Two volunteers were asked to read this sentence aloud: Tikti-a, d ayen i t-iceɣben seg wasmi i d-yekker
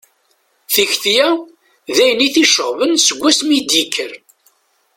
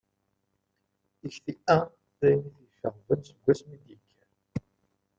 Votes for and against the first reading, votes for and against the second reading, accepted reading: 2, 0, 0, 2, first